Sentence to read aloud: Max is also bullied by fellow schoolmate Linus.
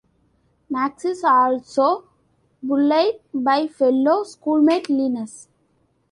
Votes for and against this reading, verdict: 0, 2, rejected